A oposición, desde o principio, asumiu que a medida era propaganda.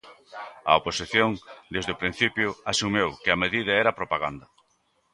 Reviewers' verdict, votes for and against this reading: rejected, 0, 2